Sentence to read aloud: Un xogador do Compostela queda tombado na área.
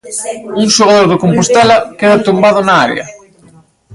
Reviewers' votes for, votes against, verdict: 1, 2, rejected